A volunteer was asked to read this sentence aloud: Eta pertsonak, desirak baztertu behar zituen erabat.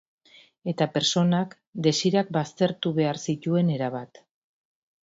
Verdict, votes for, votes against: accepted, 2, 0